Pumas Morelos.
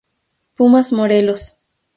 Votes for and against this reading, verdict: 0, 2, rejected